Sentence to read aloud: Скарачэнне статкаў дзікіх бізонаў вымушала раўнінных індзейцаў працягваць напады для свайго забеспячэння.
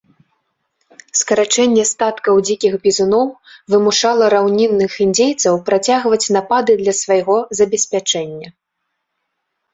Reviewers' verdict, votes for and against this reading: rejected, 0, 3